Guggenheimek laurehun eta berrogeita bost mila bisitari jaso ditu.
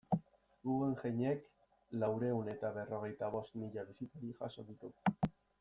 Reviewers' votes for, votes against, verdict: 2, 1, accepted